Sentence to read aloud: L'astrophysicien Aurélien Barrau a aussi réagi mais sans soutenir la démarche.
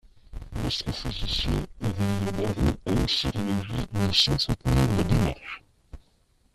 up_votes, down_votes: 0, 2